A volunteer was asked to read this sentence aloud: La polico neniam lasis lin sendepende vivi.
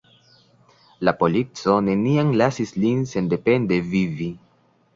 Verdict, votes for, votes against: rejected, 1, 2